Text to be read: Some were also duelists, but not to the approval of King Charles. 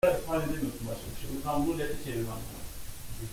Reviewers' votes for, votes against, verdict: 1, 2, rejected